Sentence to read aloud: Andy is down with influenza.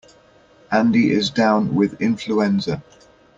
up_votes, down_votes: 0, 2